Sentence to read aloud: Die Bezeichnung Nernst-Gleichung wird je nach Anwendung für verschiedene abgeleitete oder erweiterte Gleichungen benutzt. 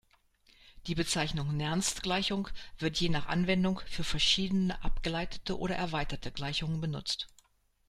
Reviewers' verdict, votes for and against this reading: rejected, 0, 2